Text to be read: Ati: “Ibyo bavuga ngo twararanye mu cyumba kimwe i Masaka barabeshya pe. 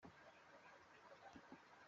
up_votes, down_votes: 0, 2